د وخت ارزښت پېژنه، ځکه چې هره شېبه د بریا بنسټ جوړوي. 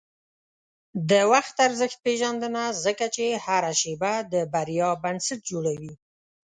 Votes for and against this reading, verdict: 1, 2, rejected